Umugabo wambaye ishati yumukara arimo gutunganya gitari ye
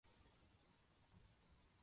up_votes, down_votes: 0, 2